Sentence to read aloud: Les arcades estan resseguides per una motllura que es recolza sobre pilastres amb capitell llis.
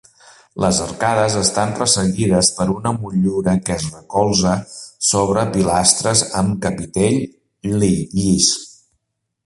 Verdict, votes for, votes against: rejected, 0, 2